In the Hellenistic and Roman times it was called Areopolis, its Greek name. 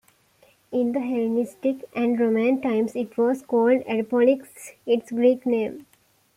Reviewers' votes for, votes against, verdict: 3, 2, accepted